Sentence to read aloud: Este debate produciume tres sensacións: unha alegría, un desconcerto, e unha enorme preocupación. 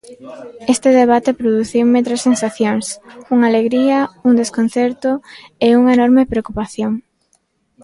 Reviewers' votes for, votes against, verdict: 1, 2, rejected